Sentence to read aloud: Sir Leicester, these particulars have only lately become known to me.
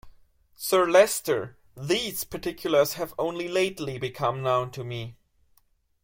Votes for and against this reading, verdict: 2, 0, accepted